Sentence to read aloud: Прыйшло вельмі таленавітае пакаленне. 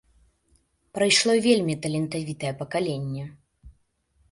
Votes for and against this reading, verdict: 0, 3, rejected